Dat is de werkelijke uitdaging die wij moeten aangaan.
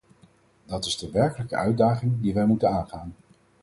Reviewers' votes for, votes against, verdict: 4, 0, accepted